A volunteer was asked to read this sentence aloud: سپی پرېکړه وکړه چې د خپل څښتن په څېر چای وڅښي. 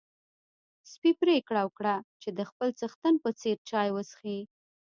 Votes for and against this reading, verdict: 2, 0, accepted